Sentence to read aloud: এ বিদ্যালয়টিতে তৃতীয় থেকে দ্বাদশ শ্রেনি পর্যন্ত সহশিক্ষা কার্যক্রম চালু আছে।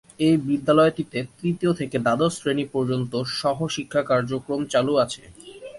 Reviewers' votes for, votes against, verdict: 2, 0, accepted